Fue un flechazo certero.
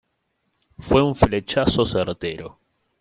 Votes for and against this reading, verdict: 2, 0, accepted